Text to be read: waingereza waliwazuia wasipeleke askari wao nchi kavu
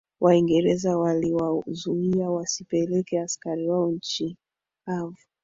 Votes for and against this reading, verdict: 2, 3, rejected